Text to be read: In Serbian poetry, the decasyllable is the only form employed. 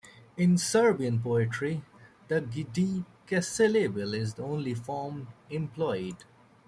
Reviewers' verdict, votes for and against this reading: rejected, 1, 2